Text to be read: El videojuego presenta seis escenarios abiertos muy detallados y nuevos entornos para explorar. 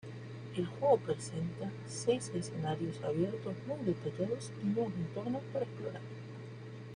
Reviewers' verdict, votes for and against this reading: rejected, 1, 2